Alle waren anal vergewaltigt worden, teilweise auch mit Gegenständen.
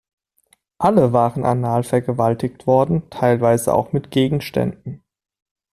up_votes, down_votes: 2, 0